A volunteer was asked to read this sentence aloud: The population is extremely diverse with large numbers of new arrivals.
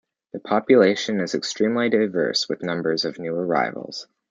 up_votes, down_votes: 0, 2